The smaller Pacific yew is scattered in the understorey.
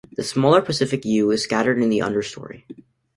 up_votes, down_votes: 2, 0